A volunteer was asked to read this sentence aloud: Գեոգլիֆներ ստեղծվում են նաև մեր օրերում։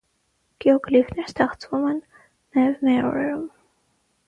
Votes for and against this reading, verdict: 3, 6, rejected